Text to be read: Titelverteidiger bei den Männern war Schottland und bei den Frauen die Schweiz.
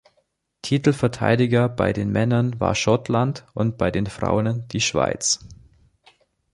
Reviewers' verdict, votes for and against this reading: rejected, 0, 2